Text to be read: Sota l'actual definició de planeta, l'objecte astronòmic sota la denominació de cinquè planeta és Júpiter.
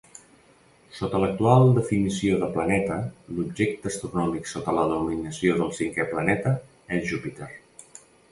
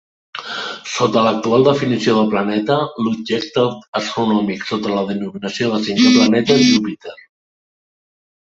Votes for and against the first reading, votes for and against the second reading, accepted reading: 0, 2, 2, 1, second